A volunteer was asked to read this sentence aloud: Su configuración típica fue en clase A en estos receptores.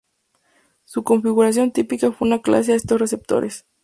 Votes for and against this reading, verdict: 0, 2, rejected